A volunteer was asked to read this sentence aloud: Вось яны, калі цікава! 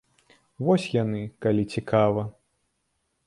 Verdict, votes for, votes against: accepted, 2, 0